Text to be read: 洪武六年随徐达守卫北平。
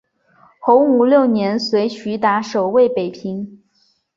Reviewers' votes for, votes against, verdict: 3, 0, accepted